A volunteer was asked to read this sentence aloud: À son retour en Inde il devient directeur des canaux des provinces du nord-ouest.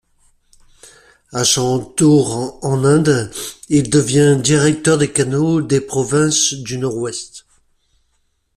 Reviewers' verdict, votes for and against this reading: rejected, 1, 2